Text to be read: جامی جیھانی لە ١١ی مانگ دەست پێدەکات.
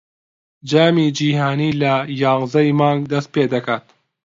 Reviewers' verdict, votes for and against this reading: rejected, 0, 2